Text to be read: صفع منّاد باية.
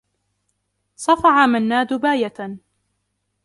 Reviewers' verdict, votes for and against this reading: accepted, 3, 0